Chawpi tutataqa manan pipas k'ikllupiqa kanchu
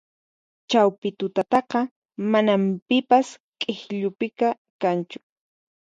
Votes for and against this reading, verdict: 6, 0, accepted